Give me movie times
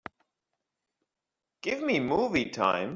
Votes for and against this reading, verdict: 1, 2, rejected